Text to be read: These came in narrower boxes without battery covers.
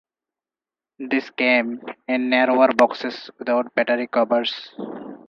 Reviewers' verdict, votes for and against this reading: accepted, 4, 2